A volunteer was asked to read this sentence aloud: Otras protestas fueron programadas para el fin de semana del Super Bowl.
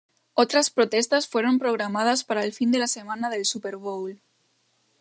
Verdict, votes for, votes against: rejected, 0, 2